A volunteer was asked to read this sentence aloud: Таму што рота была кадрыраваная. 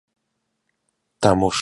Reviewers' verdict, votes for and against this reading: rejected, 0, 2